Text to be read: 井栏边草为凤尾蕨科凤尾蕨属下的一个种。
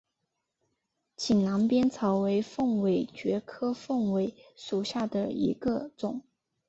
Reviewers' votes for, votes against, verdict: 2, 1, accepted